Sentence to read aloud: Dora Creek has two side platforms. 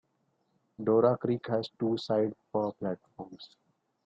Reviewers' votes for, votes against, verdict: 2, 1, accepted